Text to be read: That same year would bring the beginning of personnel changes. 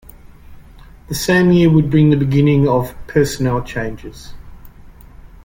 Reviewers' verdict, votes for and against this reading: rejected, 1, 2